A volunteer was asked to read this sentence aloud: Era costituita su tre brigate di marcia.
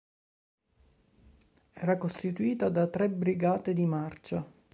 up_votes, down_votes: 0, 2